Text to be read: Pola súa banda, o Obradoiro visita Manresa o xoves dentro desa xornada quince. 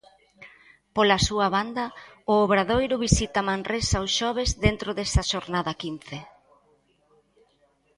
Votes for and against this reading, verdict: 0, 2, rejected